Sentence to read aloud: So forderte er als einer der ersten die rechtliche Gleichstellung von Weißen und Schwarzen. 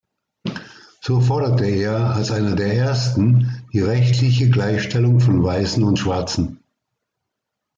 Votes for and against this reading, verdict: 2, 0, accepted